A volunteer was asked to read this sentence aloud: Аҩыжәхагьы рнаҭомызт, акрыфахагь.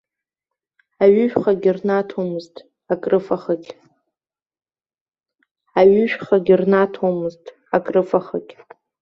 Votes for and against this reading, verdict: 0, 2, rejected